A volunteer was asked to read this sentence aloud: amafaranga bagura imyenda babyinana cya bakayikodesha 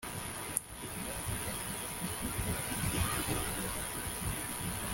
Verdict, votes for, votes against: rejected, 0, 2